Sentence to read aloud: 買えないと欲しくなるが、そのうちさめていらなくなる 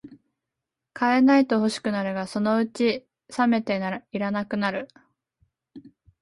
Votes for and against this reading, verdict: 0, 2, rejected